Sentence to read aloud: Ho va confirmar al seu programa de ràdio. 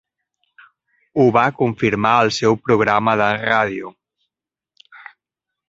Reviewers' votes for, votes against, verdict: 1, 2, rejected